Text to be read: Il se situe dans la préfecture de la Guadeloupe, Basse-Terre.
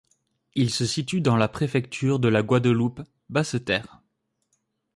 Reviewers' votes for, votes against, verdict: 2, 0, accepted